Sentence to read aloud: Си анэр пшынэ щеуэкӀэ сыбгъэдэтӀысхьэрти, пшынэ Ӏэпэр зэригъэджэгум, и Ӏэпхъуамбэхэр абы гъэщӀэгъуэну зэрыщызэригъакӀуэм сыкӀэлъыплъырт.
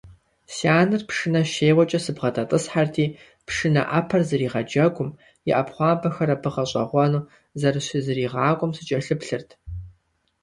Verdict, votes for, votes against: accepted, 2, 0